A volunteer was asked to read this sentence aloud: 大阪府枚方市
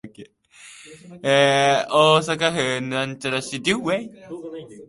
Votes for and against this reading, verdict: 0, 2, rejected